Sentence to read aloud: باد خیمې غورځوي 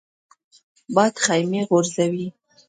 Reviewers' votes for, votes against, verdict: 2, 0, accepted